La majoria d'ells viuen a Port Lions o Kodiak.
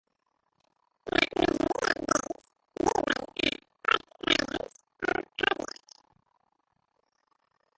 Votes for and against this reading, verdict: 0, 2, rejected